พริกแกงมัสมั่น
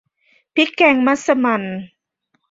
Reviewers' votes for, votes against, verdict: 2, 0, accepted